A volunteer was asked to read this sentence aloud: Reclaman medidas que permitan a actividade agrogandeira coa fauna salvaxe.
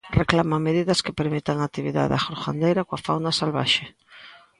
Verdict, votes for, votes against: accepted, 2, 0